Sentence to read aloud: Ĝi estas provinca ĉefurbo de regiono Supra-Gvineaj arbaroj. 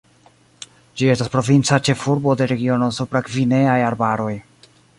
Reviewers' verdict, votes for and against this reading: rejected, 1, 2